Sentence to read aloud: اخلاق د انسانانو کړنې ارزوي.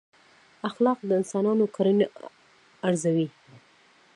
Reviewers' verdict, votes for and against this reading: rejected, 0, 2